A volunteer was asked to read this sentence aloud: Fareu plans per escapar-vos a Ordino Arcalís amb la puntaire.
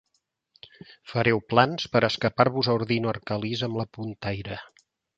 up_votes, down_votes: 2, 0